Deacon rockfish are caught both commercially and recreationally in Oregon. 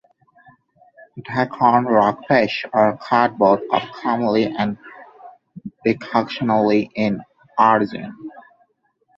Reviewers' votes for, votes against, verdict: 0, 2, rejected